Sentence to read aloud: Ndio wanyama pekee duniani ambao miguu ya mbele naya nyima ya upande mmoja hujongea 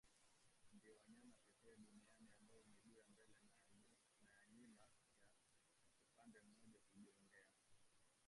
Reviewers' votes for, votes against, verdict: 0, 2, rejected